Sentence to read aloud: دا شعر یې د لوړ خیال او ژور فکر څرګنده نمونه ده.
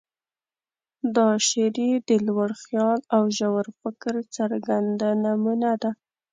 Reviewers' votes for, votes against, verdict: 1, 2, rejected